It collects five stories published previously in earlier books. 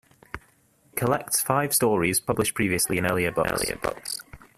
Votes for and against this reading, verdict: 0, 2, rejected